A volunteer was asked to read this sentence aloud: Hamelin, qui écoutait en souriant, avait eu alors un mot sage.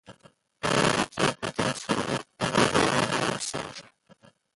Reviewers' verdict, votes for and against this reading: rejected, 0, 2